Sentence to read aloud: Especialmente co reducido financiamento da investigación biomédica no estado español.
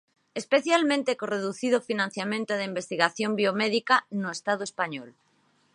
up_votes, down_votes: 4, 2